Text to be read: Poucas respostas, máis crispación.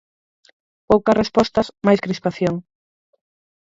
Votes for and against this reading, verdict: 0, 4, rejected